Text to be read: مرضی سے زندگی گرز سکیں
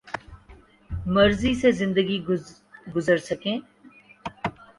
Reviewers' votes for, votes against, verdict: 3, 0, accepted